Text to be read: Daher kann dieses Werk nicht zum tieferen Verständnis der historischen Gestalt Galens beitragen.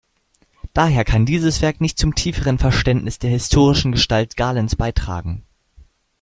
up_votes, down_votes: 2, 0